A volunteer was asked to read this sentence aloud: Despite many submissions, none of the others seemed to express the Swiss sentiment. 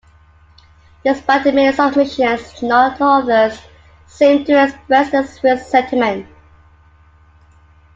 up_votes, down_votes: 1, 2